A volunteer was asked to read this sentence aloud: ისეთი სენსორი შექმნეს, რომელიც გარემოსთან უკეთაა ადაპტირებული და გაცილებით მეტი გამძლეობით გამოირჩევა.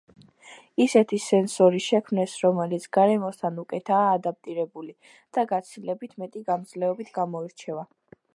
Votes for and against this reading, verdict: 2, 0, accepted